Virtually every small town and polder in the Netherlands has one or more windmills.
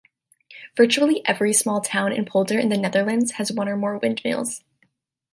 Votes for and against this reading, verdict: 2, 0, accepted